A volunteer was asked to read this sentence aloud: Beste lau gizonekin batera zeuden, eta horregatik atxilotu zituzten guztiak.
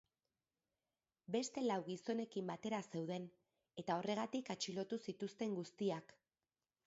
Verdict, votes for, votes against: rejected, 1, 2